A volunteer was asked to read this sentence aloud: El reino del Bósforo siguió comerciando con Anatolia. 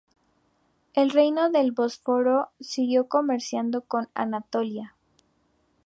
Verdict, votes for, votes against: accepted, 2, 0